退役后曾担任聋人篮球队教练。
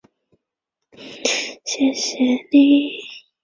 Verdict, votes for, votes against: rejected, 0, 2